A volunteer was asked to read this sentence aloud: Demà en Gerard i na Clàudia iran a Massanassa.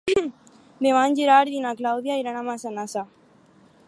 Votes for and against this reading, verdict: 4, 0, accepted